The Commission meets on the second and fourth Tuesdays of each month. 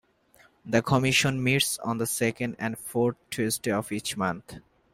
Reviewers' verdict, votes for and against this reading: rejected, 1, 2